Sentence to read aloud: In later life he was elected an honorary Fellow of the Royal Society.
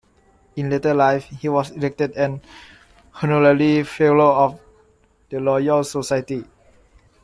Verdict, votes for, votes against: rejected, 1, 2